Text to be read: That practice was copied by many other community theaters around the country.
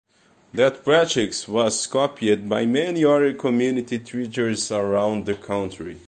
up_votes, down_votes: 0, 2